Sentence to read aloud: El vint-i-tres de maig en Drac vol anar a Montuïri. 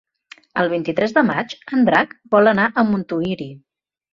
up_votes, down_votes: 3, 0